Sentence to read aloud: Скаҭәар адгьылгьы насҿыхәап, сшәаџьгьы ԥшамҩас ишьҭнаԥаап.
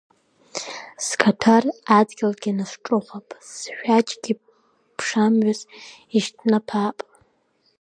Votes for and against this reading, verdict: 1, 2, rejected